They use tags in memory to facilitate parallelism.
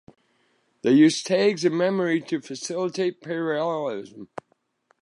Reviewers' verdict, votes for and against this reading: accepted, 2, 1